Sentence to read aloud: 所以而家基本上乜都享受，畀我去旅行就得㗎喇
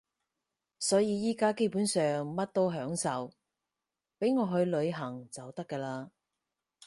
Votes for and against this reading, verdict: 4, 0, accepted